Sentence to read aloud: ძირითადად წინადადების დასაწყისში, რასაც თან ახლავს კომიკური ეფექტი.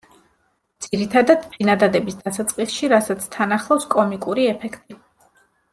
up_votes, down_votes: 2, 1